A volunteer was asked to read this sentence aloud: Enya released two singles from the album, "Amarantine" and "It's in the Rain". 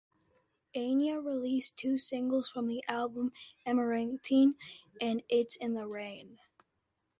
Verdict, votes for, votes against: accepted, 3, 0